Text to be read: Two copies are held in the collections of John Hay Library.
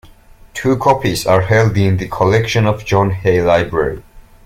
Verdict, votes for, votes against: accepted, 2, 0